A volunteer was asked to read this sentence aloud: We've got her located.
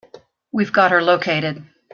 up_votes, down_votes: 2, 0